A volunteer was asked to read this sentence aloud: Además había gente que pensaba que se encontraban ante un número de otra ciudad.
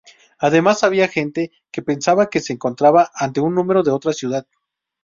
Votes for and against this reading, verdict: 2, 2, rejected